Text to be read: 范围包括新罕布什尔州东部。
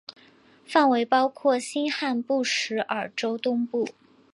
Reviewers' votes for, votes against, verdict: 2, 2, rejected